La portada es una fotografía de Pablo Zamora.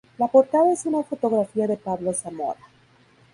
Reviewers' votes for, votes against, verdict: 2, 0, accepted